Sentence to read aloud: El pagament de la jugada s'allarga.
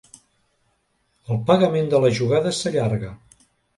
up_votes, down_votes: 3, 0